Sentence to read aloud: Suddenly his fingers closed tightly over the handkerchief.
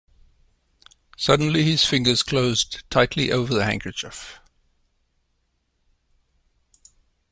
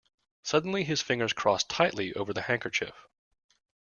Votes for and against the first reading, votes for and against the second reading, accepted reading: 2, 0, 1, 2, first